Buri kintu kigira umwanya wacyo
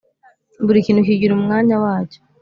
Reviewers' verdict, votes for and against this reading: accepted, 2, 0